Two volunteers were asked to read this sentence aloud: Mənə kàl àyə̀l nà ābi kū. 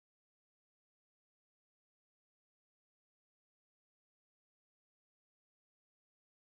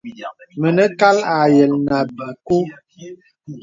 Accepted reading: second